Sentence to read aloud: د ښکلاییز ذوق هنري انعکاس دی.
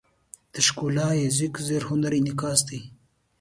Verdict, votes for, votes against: accepted, 2, 0